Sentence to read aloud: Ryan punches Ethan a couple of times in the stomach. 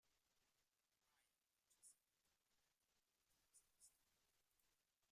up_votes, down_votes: 0, 2